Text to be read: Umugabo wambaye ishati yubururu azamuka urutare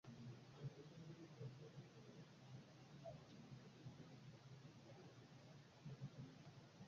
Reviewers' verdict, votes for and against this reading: rejected, 0, 2